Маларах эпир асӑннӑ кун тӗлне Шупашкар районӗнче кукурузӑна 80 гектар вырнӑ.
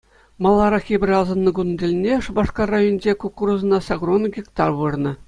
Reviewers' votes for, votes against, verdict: 0, 2, rejected